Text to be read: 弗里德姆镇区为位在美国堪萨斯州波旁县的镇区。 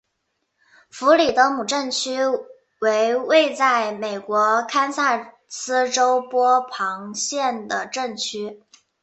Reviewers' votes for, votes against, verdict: 6, 0, accepted